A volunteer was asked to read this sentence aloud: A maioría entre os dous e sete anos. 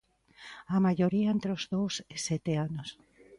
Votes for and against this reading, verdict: 2, 0, accepted